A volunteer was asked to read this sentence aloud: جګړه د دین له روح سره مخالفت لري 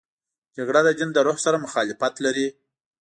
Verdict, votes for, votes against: accepted, 2, 0